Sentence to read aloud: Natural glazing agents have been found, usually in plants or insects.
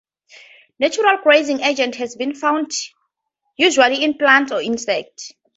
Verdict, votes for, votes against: accepted, 2, 0